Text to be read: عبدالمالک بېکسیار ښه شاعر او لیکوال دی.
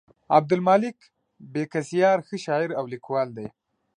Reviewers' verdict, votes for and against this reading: accepted, 2, 0